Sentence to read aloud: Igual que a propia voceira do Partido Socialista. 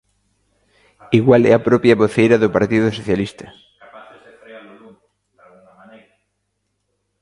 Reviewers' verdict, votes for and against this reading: rejected, 0, 2